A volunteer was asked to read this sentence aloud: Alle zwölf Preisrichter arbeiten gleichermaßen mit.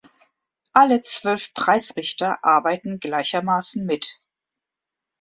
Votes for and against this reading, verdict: 2, 0, accepted